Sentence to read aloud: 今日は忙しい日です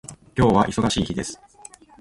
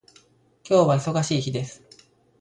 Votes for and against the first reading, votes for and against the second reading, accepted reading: 1, 2, 2, 0, second